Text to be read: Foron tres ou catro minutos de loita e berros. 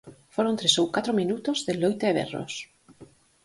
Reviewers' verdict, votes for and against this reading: accepted, 4, 0